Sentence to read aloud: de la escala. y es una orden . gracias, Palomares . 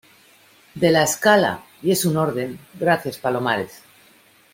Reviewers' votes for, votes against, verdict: 0, 2, rejected